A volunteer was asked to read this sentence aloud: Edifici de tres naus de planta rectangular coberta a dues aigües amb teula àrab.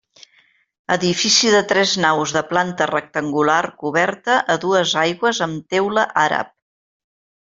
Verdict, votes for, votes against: accepted, 3, 0